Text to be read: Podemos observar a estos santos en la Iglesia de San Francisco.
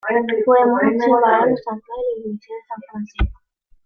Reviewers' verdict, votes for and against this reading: rejected, 1, 2